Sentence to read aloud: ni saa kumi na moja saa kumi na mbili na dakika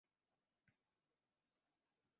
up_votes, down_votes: 0, 5